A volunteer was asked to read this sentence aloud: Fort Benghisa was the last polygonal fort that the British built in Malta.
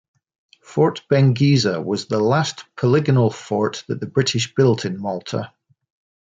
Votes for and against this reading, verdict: 2, 0, accepted